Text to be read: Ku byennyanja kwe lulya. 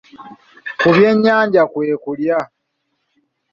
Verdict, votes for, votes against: rejected, 1, 2